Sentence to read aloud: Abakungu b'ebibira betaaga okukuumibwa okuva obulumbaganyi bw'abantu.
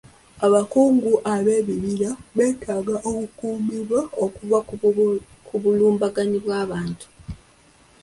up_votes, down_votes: 0, 2